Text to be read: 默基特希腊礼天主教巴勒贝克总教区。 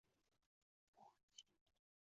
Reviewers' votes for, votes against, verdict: 0, 3, rejected